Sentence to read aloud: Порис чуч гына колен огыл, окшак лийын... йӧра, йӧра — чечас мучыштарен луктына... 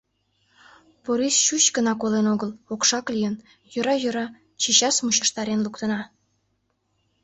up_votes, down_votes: 2, 0